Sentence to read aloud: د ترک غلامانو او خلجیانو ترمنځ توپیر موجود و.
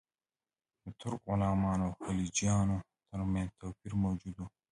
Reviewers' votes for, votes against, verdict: 0, 2, rejected